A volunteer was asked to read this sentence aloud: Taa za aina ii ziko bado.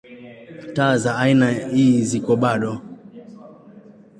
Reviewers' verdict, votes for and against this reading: accepted, 2, 0